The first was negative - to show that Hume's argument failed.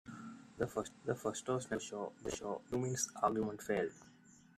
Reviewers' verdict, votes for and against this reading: rejected, 0, 2